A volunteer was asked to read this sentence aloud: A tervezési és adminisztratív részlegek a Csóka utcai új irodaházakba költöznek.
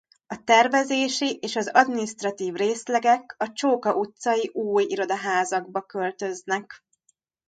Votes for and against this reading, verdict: 1, 2, rejected